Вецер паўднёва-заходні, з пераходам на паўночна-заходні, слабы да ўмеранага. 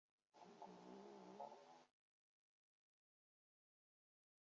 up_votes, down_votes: 1, 2